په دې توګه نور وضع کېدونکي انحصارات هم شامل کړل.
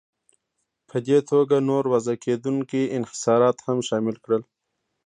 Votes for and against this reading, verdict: 0, 2, rejected